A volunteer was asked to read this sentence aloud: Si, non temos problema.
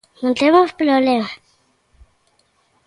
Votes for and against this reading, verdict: 0, 2, rejected